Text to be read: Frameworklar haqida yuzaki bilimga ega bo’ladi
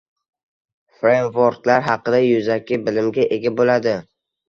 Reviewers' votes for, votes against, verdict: 1, 2, rejected